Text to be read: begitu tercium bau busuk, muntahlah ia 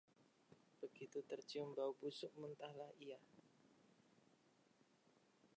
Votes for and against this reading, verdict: 0, 2, rejected